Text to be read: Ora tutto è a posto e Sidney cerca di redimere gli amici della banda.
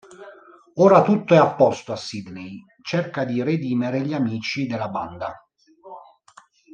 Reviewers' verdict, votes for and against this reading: rejected, 1, 2